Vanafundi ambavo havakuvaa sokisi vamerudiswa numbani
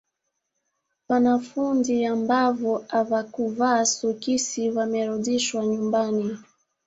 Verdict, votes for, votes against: rejected, 1, 2